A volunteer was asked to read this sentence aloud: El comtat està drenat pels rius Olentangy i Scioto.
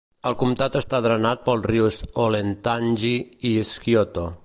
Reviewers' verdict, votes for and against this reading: accepted, 2, 0